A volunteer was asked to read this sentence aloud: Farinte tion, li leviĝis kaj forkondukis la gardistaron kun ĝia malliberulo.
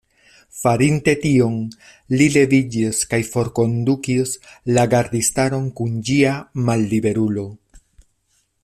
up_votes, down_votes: 2, 1